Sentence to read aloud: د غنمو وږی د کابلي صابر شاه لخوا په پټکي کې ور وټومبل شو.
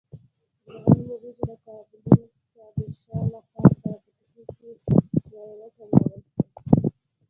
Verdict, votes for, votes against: rejected, 0, 2